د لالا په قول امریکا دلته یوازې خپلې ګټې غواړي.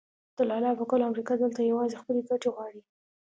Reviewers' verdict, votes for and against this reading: accepted, 2, 0